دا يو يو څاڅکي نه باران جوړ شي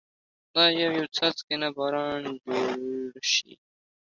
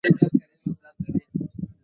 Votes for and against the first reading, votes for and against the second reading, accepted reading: 2, 0, 0, 2, first